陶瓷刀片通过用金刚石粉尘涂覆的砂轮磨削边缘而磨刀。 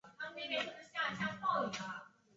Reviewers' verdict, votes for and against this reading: rejected, 0, 2